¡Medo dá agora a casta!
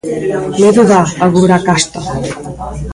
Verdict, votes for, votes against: accepted, 2, 0